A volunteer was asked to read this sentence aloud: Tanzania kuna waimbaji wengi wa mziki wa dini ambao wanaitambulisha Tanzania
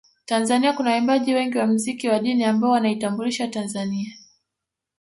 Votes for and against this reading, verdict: 1, 2, rejected